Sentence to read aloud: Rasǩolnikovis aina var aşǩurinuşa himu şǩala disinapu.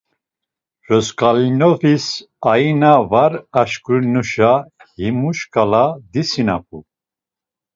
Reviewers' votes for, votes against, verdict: 1, 2, rejected